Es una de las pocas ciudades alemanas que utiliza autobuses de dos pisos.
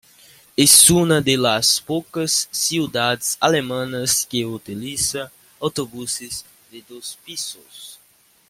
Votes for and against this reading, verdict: 2, 1, accepted